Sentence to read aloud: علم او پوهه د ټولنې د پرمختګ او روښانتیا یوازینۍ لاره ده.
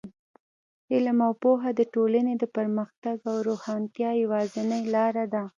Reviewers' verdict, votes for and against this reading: rejected, 1, 2